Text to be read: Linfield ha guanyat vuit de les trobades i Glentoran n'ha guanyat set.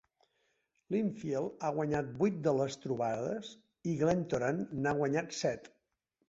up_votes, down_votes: 2, 0